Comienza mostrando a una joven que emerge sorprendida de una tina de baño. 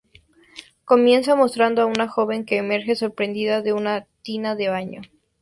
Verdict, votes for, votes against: accepted, 2, 0